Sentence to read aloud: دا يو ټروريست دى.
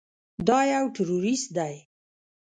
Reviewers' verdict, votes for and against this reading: rejected, 0, 2